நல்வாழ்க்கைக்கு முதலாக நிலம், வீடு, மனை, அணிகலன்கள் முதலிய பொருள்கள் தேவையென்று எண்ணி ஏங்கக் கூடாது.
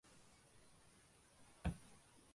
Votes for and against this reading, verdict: 0, 2, rejected